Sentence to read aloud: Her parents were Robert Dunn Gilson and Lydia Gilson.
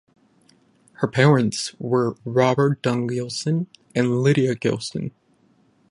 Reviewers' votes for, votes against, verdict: 10, 0, accepted